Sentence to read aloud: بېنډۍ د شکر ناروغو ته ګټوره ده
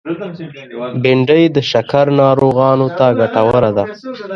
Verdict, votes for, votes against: rejected, 1, 2